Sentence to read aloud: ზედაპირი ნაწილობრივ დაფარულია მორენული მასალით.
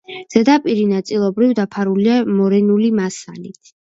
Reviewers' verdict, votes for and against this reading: accepted, 2, 0